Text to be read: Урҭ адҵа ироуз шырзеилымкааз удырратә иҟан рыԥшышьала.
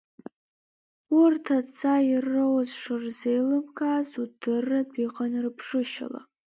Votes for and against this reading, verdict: 0, 2, rejected